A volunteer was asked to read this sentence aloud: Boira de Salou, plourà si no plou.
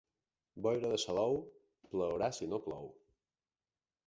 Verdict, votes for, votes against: accepted, 2, 0